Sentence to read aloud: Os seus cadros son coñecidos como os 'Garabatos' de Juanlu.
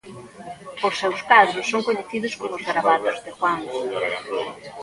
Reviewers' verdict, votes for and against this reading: rejected, 1, 2